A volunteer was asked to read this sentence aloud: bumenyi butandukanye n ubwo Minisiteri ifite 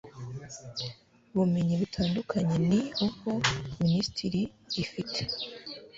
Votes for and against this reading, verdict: 1, 2, rejected